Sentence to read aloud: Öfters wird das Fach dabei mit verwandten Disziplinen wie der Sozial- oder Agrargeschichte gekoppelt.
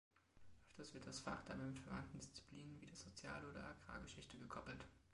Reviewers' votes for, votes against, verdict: 1, 2, rejected